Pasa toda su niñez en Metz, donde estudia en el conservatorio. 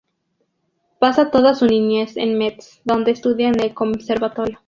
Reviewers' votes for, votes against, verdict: 2, 0, accepted